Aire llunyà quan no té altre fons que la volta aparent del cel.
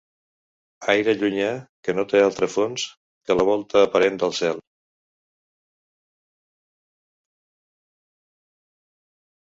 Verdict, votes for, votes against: rejected, 0, 2